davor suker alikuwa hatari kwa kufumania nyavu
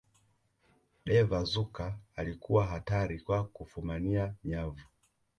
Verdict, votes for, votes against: accepted, 2, 0